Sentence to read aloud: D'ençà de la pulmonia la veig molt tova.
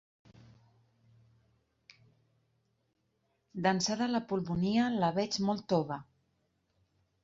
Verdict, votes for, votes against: accepted, 2, 0